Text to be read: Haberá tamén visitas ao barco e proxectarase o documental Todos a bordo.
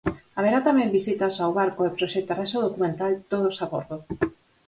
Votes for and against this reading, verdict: 4, 0, accepted